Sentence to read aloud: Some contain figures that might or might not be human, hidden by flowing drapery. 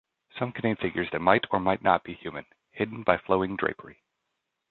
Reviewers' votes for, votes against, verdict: 2, 0, accepted